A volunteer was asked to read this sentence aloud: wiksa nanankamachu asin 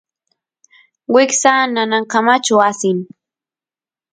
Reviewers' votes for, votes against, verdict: 2, 0, accepted